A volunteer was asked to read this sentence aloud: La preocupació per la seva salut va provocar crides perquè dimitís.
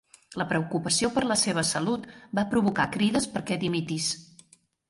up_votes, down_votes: 3, 0